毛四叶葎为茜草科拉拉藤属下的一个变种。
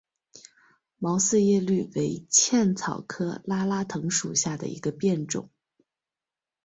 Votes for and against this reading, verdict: 2, 0, accepted